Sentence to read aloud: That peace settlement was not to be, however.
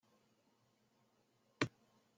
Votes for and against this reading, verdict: 0, 2, rejected